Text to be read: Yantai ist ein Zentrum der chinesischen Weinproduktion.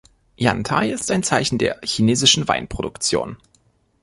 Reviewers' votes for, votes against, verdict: 1, 2, rejected